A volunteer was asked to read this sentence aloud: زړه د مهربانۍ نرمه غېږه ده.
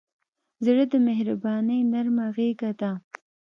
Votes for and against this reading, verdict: 2, 0, accepted